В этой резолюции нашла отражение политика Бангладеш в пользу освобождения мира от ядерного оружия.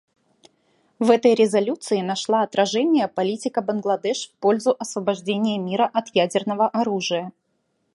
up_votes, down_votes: 2, 0